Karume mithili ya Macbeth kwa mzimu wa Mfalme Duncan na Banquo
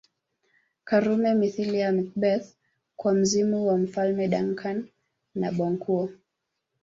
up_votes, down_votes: 0, 2